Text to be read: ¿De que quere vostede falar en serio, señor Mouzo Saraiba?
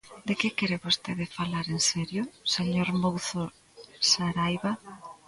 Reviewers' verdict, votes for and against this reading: accepted, 2, 0